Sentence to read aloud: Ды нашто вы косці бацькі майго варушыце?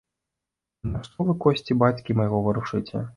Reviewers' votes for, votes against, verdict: 0, 2, rejected